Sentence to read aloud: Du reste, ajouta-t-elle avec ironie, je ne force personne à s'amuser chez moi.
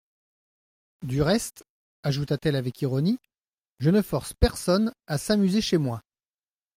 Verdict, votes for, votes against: accepted, 2, 0